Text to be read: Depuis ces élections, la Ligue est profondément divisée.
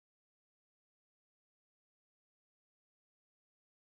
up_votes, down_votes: 0, 2